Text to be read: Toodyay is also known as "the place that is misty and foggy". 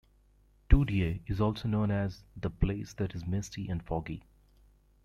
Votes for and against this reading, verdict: 2, 0, accepted